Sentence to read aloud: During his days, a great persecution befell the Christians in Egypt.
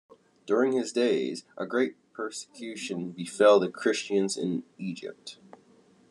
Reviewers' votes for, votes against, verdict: 2, 0, accepted